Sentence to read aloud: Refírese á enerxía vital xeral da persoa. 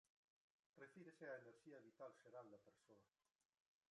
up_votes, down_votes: 1, 2